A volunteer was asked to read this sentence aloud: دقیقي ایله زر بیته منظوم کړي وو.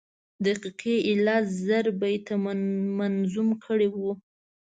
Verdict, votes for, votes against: rejected, 1, 2